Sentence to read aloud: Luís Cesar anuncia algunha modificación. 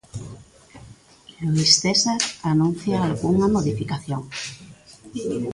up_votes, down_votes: 0, 2